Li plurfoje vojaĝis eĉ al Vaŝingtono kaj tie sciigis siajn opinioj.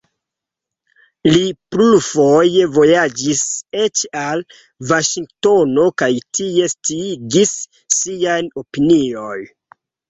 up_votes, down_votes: 1, 2